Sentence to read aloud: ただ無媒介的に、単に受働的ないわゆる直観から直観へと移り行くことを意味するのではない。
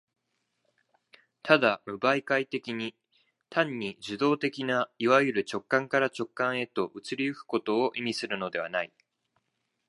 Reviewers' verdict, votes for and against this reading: accepted, 2, 0